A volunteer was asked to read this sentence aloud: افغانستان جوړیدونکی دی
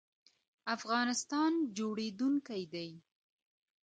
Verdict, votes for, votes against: accepted, 2, 0